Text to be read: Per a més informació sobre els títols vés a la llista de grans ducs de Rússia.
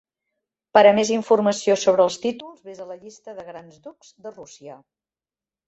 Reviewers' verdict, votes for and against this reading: accepted, 3, 0